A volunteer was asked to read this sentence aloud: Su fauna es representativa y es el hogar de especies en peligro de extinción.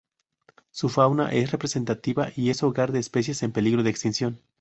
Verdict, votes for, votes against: rejected, 0, 2